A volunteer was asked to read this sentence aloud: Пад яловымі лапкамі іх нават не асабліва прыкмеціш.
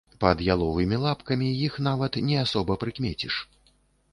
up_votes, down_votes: 0, 2